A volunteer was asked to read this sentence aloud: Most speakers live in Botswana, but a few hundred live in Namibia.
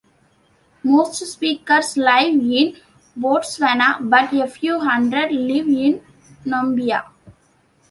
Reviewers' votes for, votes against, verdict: 1, 2, rejected